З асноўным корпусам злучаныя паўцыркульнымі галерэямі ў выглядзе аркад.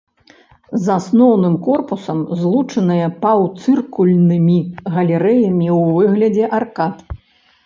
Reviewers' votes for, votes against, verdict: 2, 0, accepted